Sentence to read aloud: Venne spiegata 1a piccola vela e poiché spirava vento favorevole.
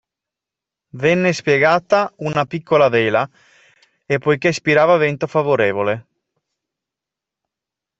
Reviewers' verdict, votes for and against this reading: rejected, 0, 2